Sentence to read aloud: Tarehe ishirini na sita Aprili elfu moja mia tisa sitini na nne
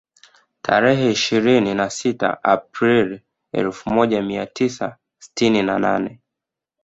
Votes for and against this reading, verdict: 2, 1, accepted